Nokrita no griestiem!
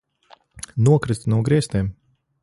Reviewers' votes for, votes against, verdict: 1, 2, rejected